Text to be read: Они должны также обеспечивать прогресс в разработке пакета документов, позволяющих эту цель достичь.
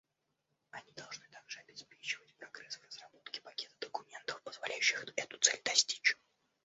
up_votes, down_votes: 1, 2